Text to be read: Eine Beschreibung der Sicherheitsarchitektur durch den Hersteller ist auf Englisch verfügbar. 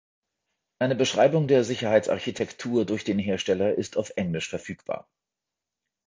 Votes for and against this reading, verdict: 2, 0, accepted